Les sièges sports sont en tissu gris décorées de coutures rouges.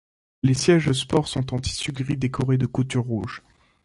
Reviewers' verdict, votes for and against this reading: accepted, 2, 0